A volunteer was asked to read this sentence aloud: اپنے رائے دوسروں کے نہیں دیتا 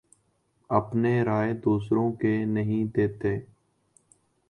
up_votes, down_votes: 1, 2